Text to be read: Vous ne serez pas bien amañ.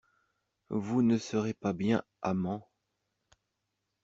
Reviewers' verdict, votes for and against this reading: rejected, 0, 2